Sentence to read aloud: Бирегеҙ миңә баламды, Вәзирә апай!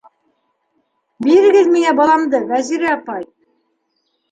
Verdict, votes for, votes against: accepted, 3, 1